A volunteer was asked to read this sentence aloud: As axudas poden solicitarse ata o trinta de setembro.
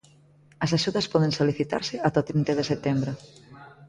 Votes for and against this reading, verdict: 0, 2, rejected